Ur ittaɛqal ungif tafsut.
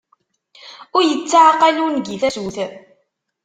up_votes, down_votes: 0, 2